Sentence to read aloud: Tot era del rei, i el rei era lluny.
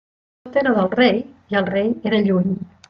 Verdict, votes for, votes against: rejected, 0, 2